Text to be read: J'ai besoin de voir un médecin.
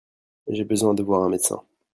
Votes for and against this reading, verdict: 2, 0, accepted